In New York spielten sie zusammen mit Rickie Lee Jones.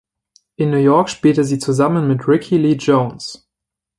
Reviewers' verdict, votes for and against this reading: rejected, 1, 2